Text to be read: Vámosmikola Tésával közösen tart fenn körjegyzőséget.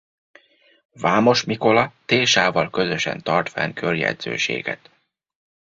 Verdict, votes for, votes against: accepted, 2, 1